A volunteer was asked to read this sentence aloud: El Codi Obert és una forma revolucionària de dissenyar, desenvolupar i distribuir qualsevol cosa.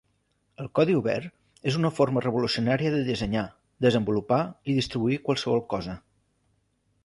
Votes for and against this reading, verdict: 3, 0, accepted